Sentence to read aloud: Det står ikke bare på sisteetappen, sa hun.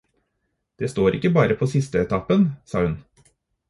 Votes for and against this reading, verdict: 4, 0, accepted